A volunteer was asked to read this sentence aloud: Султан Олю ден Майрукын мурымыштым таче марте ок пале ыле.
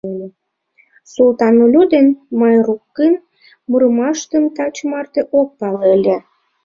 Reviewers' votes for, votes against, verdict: 0, 2, rejected